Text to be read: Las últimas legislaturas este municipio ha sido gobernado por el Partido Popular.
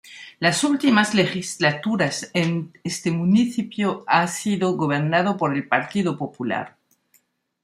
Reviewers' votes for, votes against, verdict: 1, 2, rejected